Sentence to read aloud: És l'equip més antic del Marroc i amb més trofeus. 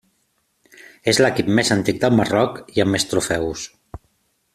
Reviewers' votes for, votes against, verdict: 2, 0, accepted